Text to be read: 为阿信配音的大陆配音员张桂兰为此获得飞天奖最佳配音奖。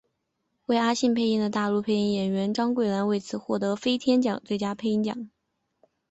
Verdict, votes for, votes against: accepted, 2, 0